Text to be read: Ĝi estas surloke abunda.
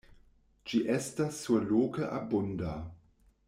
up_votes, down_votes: 1, 2